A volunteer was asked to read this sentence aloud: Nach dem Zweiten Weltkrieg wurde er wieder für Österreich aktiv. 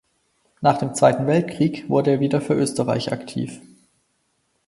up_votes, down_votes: 4, 0